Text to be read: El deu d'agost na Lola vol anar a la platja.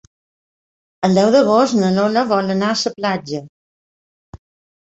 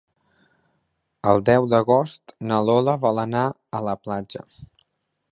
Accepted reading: second